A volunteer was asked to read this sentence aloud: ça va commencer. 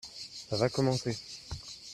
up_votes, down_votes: 2, 1